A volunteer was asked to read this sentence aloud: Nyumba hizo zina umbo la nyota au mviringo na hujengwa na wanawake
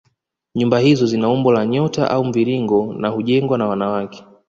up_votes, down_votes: 1, 2